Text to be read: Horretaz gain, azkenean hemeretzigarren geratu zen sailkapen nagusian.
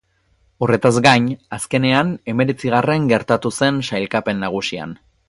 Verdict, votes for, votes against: accepted, 8, 2